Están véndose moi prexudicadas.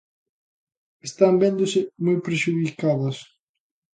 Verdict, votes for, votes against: accepted, 2, 0